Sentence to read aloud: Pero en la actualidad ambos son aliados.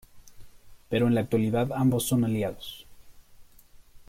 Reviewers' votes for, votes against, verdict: 2, 0, accepted